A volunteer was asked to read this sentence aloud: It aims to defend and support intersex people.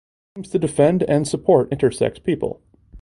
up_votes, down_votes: 1, 2